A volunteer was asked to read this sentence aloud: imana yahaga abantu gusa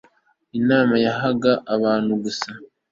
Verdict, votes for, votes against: accepted, 2, 0